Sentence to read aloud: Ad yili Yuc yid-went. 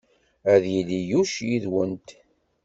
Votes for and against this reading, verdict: 2, 0, accepted